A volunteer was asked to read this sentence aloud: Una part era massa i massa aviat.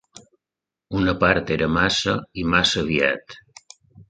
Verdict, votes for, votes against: accepted, 2, 0